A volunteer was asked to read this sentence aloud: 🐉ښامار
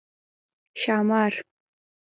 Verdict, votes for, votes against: rejected, 1, 2